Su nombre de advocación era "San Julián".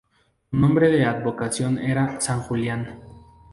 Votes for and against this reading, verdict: 2, 0, accepted